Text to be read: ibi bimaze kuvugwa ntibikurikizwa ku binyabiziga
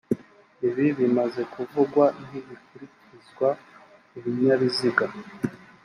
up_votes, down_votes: 4, 0